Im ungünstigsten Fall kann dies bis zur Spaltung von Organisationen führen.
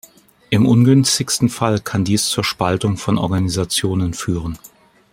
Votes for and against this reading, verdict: 1, 2, rejected